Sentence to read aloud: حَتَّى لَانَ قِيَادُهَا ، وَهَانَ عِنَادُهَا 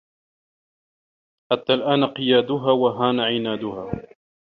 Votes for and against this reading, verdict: 1, 2, rejected